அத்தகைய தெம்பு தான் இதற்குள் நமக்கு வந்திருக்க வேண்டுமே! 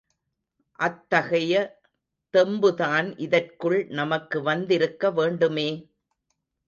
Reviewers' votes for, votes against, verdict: 2, 0, accepted